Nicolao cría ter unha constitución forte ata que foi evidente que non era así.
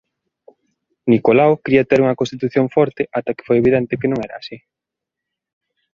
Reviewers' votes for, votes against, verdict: 2, 0, accepted